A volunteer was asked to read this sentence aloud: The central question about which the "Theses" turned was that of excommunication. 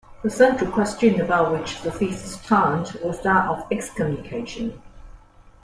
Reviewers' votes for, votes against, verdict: 2, 1, accepted